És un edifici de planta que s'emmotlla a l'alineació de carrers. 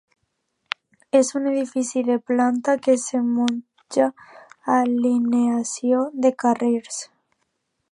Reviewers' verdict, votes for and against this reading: rejected, 0, 2